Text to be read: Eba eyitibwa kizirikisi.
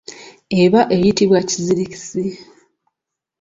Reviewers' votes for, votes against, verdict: 2, 0, accepted